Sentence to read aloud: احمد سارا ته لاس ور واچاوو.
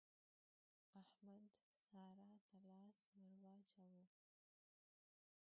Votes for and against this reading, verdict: 1, 2, rejected